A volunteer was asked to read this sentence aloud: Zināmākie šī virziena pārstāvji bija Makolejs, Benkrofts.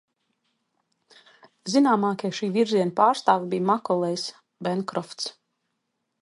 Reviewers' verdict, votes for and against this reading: accepted, 2, 0